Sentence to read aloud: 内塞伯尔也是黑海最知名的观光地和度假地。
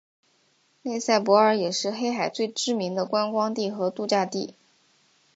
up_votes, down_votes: 2, 1